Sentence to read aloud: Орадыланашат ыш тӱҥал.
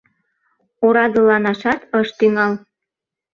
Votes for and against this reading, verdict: 2, 0, accepted